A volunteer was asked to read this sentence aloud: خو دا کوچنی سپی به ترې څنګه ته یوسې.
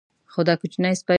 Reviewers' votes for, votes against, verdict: 1, 2, rejected